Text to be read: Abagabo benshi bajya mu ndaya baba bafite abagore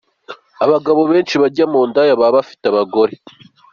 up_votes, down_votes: 3, 0